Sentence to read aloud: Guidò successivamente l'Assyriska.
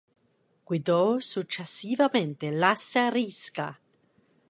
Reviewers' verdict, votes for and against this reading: rejected, 1, 2